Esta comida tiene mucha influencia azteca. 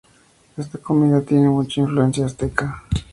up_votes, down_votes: 4, 0